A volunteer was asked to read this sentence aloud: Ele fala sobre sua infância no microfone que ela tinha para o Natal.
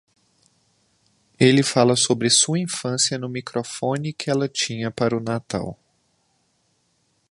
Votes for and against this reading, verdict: 2, 0, accepted